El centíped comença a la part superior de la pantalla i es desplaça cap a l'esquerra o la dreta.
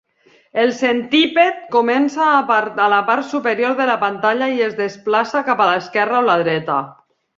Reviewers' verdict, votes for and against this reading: rejected, 1, 3